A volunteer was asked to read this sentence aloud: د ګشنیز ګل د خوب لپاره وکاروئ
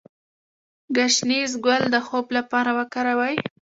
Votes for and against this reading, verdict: 1, 2, rejected